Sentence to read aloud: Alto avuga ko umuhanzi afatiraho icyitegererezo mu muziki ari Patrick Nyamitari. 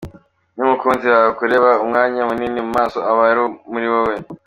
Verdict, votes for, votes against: rejected, 0, 2